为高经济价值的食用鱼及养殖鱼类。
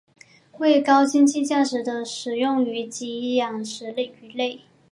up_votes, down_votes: 0, 2